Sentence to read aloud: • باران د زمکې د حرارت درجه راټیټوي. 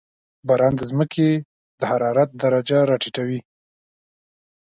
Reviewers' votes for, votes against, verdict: 2, 0, accepted